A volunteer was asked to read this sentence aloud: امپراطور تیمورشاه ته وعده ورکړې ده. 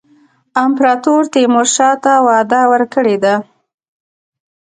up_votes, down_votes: 3, 1